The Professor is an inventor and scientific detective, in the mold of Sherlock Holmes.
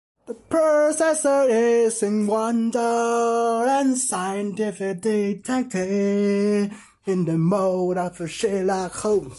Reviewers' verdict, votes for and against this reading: rejected, 0, 2